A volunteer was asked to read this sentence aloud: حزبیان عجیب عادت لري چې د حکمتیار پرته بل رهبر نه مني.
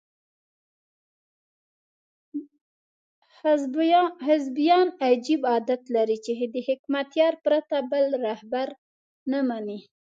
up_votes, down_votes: 0, 2